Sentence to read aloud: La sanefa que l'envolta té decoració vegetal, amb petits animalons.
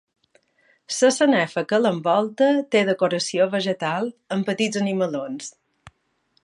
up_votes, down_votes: 0, 2